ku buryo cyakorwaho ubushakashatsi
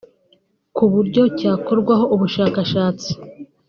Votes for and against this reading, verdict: 3, 0, accepted